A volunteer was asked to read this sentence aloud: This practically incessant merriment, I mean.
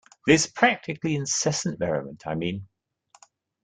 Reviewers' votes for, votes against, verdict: 2, 0, accepted